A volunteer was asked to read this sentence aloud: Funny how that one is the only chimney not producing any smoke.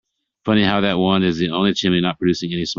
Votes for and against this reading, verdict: 2, 1, accepted